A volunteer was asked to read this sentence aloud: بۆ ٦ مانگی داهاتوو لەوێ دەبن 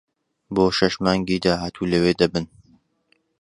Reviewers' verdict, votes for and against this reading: rejected, 0, 2